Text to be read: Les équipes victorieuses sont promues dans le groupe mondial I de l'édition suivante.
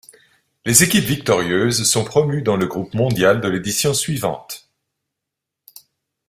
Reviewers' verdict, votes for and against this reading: accepted, 2, 1